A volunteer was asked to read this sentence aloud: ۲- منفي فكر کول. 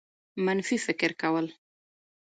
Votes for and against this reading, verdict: 0, 2, rejected